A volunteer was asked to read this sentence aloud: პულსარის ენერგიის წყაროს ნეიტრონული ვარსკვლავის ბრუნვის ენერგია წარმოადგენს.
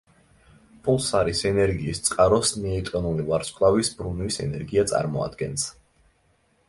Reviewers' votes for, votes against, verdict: 2, 0, accepted